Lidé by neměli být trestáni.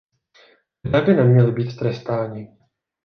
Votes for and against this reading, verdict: 0, 2, rejected